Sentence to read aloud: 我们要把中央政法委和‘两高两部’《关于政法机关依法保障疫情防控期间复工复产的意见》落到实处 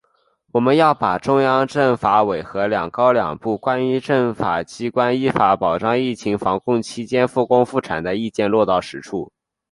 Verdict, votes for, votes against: accepted, 3, 0